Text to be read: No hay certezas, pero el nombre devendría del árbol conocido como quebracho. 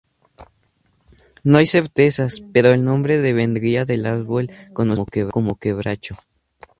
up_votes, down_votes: 0, 2